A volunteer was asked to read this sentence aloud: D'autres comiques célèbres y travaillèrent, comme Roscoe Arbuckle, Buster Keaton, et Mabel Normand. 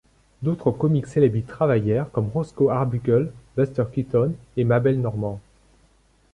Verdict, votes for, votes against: accepted, 2, 0